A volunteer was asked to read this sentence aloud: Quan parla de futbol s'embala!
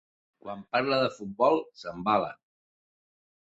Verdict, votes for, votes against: accepted, 2, 0